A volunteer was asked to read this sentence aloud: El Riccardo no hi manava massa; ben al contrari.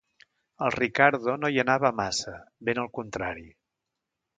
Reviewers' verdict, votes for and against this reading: rejected, 0, 2